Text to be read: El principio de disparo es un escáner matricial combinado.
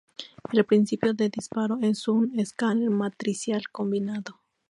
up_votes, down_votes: 2, 0